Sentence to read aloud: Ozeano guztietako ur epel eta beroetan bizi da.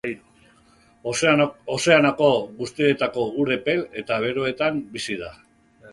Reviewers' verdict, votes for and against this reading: rejected, 0, 3